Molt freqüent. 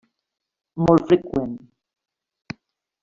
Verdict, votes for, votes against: rejected, 1, 2